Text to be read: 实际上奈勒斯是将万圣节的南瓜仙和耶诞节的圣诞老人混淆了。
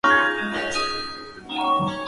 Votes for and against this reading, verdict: 0, 2, rejected